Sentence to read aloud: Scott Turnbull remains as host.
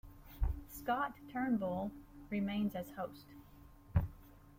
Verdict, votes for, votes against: accepted, 2, 0